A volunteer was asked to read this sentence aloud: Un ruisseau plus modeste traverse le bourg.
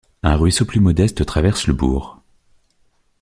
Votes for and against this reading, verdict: 2, 0, accepted